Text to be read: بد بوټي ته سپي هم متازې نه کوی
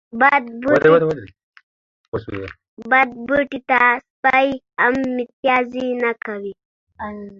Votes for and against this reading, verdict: 0, 2, rejected